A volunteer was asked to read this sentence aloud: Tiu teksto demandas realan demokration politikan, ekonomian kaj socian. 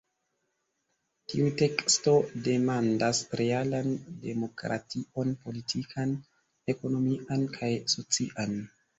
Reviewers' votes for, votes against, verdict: 1, 2, rejected